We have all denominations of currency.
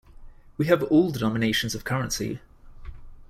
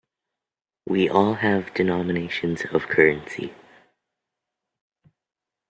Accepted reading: first